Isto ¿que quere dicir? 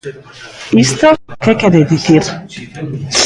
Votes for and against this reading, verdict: 0, 2, rejected